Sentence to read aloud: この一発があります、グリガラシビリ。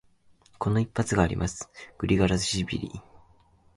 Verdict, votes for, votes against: accepted, 16, 2